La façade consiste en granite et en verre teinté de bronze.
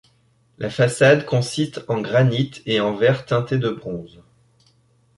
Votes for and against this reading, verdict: 0, 2, rejected